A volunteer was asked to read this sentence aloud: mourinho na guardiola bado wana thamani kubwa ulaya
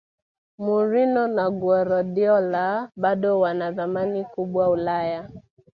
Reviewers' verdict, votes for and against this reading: accepted, 2, 1